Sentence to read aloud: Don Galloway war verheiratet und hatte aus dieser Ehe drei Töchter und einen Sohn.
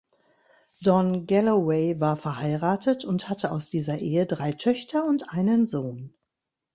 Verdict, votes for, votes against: accepted, 2, 0